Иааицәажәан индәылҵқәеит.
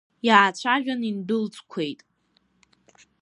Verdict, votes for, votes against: rejected, 0, 2